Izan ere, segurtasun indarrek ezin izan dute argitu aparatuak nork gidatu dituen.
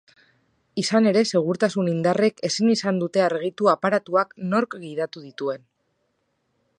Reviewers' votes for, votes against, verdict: 5, 0, accepted